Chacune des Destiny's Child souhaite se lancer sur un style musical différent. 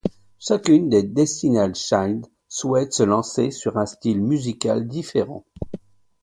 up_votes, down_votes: 1, 2